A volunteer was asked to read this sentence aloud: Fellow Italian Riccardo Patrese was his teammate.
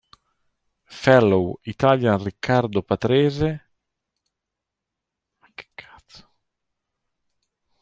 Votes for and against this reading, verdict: 1, 2, rejected